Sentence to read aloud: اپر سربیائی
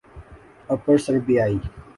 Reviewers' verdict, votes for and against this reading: accepted, 2, 0